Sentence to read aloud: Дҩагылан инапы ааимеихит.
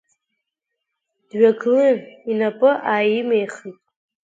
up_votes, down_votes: 1, 2